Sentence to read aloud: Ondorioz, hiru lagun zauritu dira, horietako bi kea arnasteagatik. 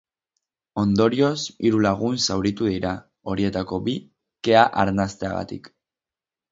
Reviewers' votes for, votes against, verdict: 6, 0, accepted